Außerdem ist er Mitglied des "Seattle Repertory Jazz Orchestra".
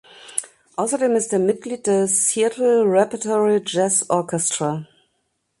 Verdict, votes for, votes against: accepted, 2, 0